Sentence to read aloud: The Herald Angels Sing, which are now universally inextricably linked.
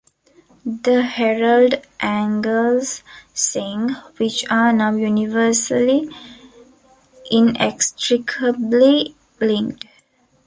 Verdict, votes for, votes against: rejected, 1, 2